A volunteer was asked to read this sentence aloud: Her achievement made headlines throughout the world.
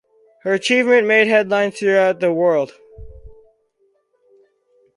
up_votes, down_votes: 2, 2